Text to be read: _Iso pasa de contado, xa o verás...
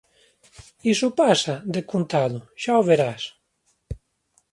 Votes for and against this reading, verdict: 2, 1, accepted